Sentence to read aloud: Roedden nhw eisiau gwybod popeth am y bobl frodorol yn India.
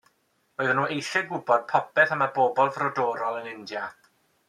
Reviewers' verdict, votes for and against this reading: accepted, 2, 0